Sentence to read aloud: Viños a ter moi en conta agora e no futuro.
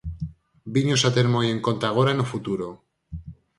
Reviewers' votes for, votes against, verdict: 6, 0, accepted